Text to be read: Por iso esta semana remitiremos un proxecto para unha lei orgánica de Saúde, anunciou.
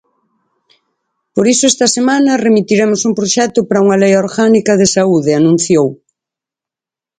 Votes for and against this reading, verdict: 4, 0, accepted